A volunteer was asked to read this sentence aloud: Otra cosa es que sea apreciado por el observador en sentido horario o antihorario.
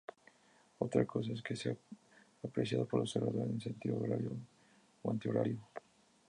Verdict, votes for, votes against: rejected, 0, 2